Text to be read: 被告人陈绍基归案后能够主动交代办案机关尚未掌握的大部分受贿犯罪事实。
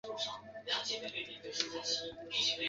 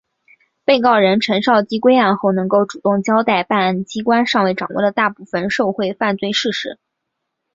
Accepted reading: second